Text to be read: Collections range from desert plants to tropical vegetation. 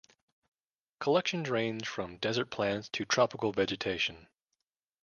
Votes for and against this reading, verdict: 2, 0, accepted